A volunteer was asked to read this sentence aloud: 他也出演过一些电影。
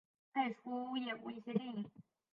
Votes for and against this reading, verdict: 0, 2, rejected